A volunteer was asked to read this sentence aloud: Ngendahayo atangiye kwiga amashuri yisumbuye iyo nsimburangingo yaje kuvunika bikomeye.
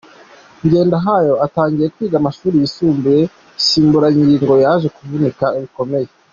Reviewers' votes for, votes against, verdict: 2, 0, accepted